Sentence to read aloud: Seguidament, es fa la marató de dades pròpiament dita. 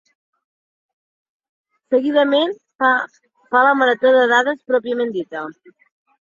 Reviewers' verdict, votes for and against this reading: accepted, 2, 0